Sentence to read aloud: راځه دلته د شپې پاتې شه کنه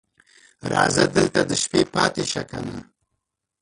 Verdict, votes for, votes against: rejected, 0, 2